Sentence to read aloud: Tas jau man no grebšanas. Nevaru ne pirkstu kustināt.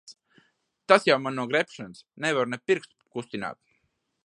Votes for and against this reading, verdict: 2, 0, accepted